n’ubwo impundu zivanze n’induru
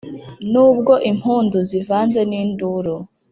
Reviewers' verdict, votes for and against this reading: accepted, 2, 0